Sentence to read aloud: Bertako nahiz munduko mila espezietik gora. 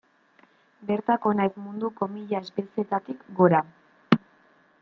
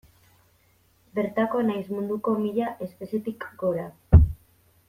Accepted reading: second